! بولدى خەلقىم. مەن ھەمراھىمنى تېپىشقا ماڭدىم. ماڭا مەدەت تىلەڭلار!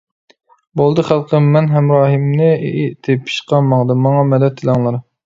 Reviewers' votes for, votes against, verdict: 1, 2, rejected